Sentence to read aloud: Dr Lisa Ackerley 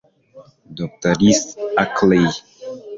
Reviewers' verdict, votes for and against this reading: rejected, 1, 2